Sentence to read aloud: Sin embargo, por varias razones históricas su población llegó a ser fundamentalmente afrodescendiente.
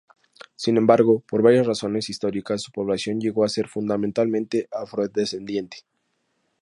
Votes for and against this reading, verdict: 2, 0, accepted